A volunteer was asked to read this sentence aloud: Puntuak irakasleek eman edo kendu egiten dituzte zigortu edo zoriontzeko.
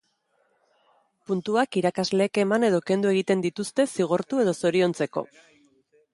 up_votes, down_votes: 2, 0